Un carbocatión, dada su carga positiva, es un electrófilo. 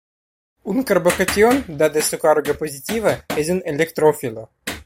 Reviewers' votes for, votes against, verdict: 0, 2, rejected